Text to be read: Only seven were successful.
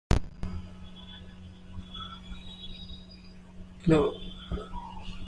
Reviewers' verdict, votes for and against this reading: rejected, 0, 2